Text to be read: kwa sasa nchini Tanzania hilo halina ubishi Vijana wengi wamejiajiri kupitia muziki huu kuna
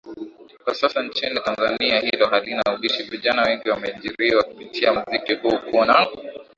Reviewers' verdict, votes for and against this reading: rejected, 0, 2